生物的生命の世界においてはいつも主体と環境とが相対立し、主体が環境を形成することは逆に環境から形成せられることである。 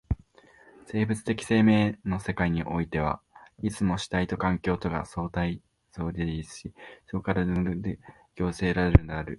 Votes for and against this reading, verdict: 0, 2, rejected